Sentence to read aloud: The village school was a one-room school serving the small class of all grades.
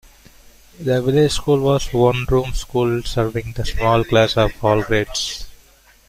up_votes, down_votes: 0, 2